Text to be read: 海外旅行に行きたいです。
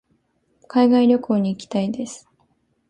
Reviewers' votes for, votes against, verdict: 2, 0, accepted